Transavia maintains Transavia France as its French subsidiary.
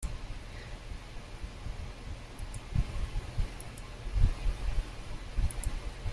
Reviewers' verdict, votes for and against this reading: rejected, 0, 2